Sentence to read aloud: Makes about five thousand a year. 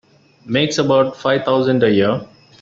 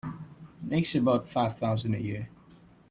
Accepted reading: second